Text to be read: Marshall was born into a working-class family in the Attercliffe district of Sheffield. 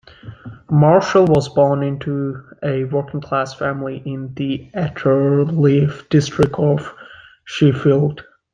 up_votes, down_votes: 1, 2